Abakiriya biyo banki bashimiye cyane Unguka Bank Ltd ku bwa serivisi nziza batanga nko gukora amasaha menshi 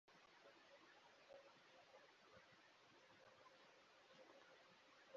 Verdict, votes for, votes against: rejected, 1, 2